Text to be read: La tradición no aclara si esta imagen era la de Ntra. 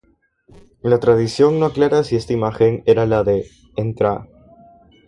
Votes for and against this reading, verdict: 3, 0, accepted